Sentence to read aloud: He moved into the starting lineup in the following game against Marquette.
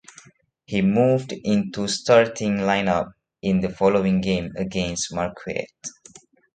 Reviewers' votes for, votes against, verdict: 0, 2, rejected